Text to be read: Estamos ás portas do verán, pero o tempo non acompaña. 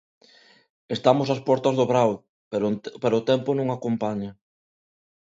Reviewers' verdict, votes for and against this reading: rejected, 0, 2